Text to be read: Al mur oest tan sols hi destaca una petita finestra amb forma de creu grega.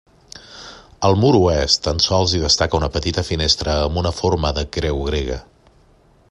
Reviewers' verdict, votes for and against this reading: rejected, 1, 2